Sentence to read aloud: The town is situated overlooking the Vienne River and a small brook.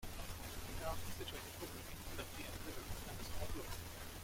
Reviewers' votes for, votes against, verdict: 0, 2, rejected